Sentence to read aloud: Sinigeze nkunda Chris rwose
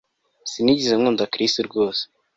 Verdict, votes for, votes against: accepted, 2, 0